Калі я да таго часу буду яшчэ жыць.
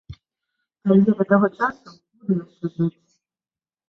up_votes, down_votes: 0, 2